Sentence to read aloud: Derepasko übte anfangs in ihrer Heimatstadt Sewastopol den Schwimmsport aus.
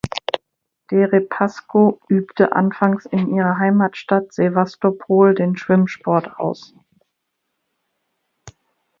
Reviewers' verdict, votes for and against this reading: accepted, 2, 0